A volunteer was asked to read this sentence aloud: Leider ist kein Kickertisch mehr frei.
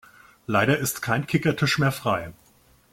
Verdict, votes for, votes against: accepted, 2, 0